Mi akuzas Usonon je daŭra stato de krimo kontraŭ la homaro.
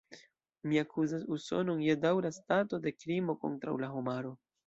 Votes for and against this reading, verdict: 2, 0, accepted